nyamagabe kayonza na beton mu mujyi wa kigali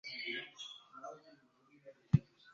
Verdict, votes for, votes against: rejected, 0, 2